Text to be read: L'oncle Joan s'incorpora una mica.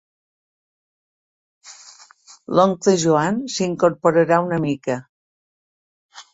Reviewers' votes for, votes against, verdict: 1, 3, rejected